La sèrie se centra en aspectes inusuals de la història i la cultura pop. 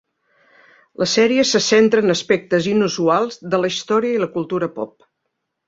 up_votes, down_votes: 3, 0